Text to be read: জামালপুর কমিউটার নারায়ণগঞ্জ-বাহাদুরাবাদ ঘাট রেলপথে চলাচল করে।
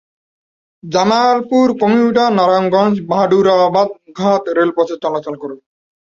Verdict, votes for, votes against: rejected, 0, 2